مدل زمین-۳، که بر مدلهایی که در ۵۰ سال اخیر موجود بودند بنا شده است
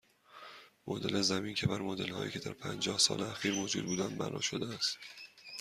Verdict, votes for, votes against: rejected, 0, 2